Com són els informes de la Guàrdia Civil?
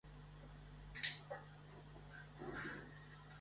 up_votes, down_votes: 0, 2